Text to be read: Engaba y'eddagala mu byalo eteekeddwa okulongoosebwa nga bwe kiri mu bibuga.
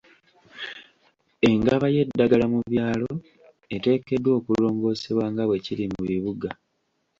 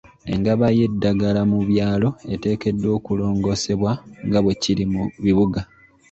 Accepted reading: second